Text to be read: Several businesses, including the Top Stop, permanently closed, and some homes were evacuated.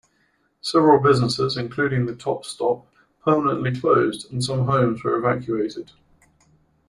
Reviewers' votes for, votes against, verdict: 2, 0, accepted